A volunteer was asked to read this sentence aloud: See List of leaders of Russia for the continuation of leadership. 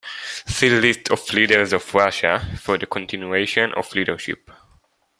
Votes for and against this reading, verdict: 2, 0, accepted